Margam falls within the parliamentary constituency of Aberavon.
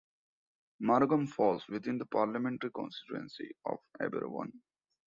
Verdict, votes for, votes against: accepted, 2, 1